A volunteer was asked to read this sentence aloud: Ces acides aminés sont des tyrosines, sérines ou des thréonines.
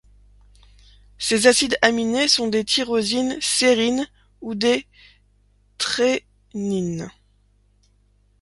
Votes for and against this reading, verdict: 0, 2, rejected